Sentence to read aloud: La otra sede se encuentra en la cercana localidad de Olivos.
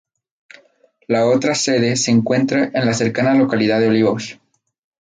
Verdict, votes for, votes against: accepted, 4, 0